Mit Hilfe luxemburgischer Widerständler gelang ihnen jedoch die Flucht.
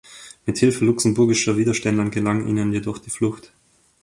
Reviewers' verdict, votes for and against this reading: accepted, 2, 1